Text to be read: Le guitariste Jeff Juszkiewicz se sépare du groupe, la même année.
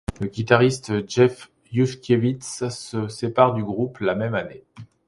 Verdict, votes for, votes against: accepted, 2, 0